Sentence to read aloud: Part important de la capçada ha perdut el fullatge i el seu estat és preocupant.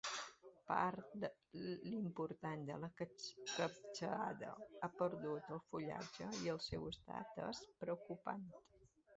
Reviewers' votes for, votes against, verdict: 2, 1, accepted